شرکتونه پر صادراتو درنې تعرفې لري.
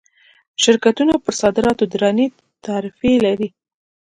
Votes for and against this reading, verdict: 2, 0, accepted